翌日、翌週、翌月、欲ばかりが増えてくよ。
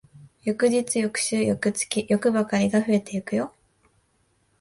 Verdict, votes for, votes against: accepted, 2, 0